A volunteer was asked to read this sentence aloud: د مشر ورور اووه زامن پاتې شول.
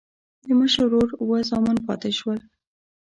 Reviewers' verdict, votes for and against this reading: accepted, 2, 0